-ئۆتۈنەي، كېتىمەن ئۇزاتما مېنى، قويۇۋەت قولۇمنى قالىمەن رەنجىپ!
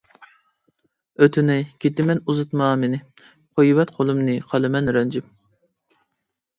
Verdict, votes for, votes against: rejected, 0, 2